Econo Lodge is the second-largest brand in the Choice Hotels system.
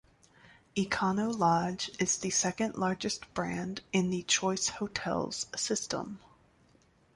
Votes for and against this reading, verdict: 2, 0, accepted